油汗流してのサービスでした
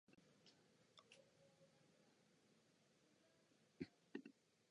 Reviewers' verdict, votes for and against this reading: rejected, 0, 2